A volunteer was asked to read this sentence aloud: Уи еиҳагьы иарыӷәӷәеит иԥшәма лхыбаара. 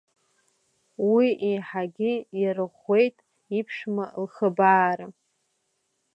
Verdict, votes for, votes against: accepted, 2, 0